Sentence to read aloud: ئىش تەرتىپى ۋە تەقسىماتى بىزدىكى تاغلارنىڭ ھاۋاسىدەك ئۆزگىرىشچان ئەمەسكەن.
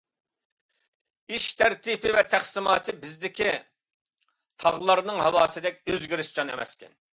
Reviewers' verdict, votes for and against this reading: accepted, 2, 0